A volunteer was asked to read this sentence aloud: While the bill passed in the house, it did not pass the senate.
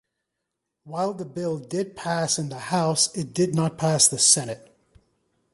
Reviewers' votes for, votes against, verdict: 0, 2, rejected